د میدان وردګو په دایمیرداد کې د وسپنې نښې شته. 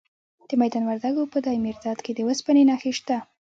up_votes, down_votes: 1, 2